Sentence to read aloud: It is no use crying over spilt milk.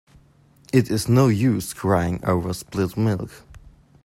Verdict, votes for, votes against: rejected, 0, 2